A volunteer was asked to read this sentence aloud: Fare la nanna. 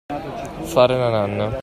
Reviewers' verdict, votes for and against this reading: accepted, 2, 0